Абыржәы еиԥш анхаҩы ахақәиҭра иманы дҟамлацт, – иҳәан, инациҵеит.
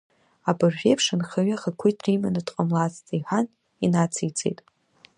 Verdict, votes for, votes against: rejected, 1, 2